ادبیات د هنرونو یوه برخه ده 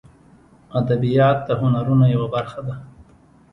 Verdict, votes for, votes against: accepted, 2, 1